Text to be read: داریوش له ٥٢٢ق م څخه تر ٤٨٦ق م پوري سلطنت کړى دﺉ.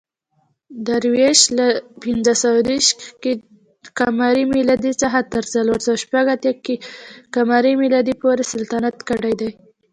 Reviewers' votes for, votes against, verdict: 0, 2, rejected